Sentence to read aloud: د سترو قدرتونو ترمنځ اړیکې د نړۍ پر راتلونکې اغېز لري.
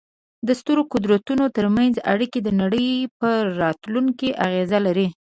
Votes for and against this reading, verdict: 2, 0, accepted